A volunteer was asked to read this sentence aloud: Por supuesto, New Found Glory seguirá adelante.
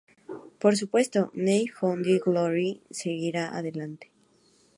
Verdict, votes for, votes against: accepted, 2, 0